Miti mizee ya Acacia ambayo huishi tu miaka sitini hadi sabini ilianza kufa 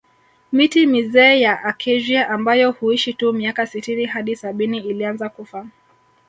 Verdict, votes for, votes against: rejected, 1, 2